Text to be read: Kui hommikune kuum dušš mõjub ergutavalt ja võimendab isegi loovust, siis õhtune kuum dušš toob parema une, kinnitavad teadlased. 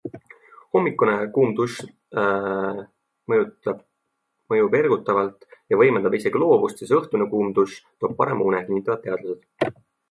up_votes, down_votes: 0, 2